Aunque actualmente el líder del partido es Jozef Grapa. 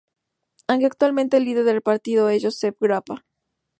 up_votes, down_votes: 0, 2